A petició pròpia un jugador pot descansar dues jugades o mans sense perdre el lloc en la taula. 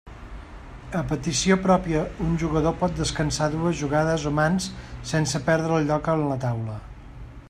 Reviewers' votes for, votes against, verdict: 2, 0, accepted